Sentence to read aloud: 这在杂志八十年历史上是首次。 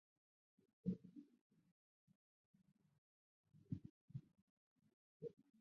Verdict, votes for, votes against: rejected, 0, 4